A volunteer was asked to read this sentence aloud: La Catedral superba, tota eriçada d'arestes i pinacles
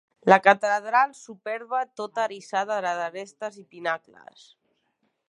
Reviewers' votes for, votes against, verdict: 1, 3, rejected